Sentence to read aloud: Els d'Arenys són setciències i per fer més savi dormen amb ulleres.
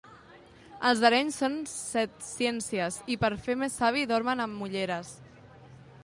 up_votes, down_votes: 2, 1